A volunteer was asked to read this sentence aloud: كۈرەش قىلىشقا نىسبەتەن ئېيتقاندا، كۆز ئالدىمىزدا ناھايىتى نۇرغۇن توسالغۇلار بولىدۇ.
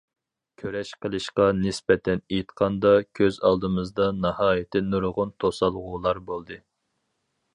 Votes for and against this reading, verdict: 0, 4, rejected